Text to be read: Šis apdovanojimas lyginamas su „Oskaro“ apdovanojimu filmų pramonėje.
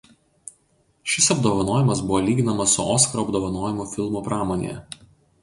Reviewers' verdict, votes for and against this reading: rejected, 0, 2